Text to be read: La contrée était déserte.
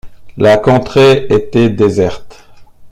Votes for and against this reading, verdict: 2, 0, accepted